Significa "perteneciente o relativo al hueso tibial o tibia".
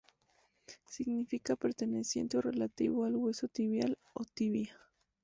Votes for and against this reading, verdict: 2, 0, accepted